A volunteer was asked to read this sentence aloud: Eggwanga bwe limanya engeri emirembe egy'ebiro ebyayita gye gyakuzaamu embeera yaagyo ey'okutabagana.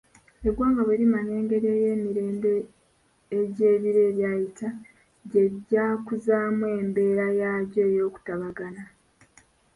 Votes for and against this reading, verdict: 2, 3, rejected